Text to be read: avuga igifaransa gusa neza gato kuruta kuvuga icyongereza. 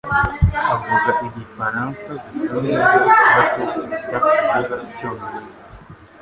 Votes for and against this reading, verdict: 1, 2, rejected